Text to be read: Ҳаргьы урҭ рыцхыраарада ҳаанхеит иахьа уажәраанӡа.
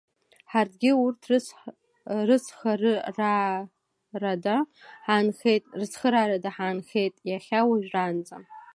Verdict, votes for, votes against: rejected, 1, 2